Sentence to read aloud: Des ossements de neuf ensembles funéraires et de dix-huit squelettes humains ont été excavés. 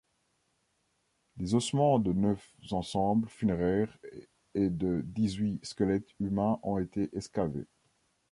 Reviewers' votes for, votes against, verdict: 2, 3, rejected